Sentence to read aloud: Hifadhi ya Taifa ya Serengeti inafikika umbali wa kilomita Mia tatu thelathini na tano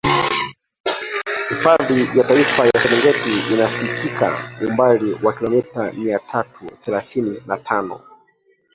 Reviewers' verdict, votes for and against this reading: rejected, 0, 2